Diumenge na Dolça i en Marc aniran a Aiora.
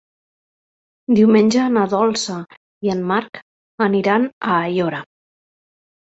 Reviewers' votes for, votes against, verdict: 3, 0, accepted